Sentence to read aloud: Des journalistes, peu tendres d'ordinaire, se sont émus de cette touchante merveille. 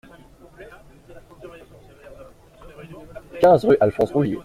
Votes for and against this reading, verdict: 0, 2, rejected